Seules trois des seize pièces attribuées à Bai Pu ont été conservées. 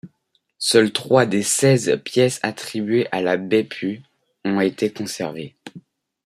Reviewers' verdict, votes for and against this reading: rejected, 0, 2